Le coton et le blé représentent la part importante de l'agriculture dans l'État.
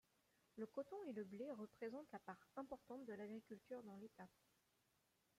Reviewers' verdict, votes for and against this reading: rejected, 1, 2